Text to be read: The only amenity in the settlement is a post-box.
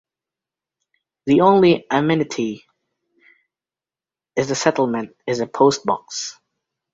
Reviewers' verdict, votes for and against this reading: rejected, 1, 2